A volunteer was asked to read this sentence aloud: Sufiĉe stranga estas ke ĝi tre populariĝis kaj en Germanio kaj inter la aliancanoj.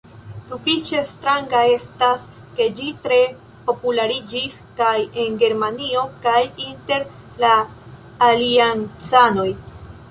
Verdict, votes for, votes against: accepted, 2, 0